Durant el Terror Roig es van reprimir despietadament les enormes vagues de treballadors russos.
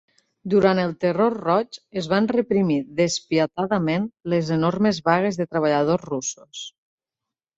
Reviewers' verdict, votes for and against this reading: accepted, 3, 1